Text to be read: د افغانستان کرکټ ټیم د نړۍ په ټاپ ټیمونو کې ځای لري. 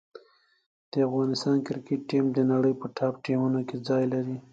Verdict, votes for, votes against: accepted, 2, 0